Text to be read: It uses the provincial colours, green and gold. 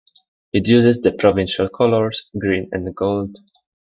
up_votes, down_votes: 2, 0